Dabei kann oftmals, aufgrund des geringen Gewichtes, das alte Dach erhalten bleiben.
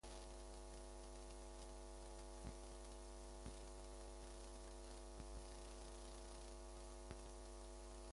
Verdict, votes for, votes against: rejected, 0, 2